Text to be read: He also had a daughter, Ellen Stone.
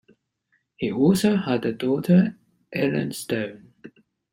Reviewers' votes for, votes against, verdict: 2, 0, accepted